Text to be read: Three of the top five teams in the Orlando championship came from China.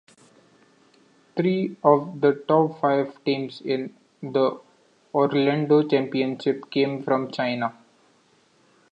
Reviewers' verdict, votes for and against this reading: rejected, 0, 2